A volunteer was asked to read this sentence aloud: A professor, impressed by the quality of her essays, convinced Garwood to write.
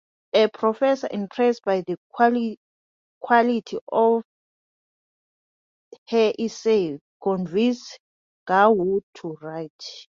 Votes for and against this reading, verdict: 0, 2, rejected